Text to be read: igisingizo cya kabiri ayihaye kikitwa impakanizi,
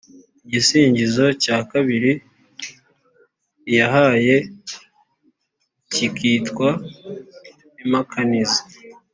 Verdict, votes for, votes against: accepted, 2, 1